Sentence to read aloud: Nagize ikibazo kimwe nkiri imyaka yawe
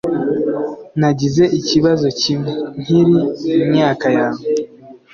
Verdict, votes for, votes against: accepted, 2, 0